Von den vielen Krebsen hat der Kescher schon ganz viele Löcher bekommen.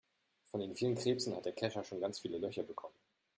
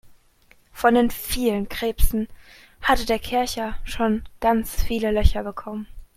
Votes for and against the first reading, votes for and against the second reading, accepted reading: 2, 0, 0, 2, first